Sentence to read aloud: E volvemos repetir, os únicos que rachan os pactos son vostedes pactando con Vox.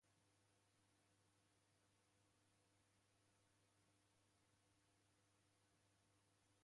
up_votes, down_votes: 0, 2